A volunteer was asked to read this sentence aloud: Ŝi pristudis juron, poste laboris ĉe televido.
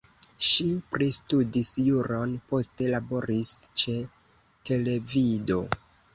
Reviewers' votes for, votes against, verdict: 2, 0, accepted